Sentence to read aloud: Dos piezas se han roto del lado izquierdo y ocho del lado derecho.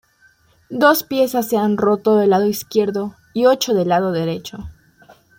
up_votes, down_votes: 2, 0